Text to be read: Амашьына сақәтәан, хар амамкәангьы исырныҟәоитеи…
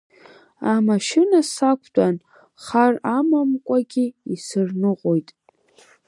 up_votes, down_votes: 1, 2